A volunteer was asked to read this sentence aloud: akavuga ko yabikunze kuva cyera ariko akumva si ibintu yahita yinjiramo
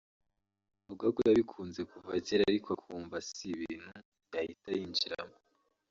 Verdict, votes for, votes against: rejected, 1, 2